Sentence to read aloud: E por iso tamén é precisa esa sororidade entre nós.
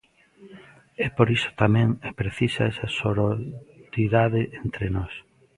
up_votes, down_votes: 0, 2